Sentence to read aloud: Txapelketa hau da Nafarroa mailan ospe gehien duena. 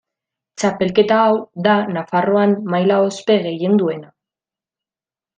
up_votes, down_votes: 1, 2